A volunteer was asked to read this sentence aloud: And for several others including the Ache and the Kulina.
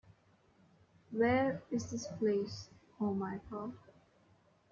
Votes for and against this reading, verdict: 1, 2, rejected